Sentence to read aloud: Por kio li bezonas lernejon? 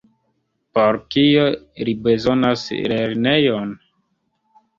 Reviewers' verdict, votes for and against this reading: rejected, 0, 2